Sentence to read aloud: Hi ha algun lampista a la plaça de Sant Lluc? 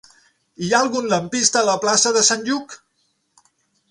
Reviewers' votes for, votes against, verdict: 9, 3, accepted